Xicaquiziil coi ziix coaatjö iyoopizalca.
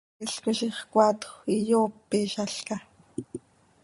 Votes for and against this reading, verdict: 1, 2, rejected